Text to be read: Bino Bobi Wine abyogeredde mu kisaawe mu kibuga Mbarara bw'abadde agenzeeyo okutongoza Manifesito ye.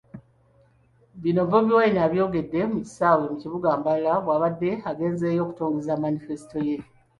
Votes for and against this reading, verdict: 1, 2, rejected